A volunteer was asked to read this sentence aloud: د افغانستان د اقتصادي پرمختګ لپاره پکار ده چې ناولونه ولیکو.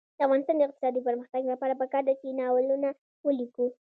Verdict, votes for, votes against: accepted, 2, 0